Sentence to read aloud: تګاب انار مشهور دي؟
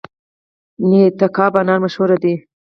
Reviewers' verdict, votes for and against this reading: accepted, 4, 0